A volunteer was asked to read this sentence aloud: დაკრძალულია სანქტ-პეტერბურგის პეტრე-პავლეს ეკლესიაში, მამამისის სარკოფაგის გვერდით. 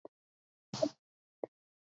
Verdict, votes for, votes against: rejected, 0, 2